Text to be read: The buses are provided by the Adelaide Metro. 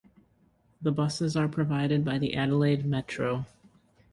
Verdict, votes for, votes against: accepted, 2, 0